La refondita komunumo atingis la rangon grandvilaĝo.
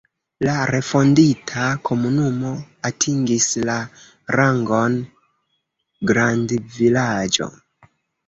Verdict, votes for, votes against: rejected, 0, 2